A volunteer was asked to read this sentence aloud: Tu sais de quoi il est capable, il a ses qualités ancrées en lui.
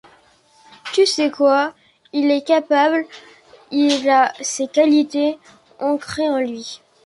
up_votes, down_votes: 1, 2